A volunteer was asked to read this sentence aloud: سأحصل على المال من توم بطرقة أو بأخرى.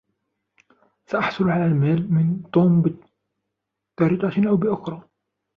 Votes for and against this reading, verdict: 0, 2, rejected